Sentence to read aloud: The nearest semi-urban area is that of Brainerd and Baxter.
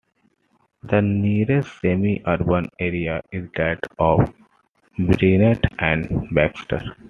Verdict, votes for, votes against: accepted, 2, 1